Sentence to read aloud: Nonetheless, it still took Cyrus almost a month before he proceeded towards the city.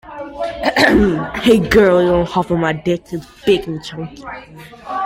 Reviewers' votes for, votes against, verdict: 0, 2, rejected